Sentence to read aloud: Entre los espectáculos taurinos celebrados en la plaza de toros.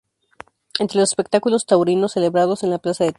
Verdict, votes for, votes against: rejected, 0, 2